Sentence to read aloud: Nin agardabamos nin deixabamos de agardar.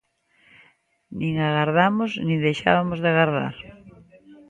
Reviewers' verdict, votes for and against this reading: rejected, 0, 2